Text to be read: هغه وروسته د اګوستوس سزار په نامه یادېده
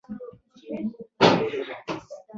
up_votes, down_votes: 0, 2